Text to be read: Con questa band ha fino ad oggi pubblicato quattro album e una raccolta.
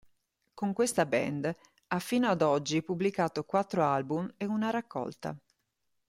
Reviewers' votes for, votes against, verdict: 2, 0, accepted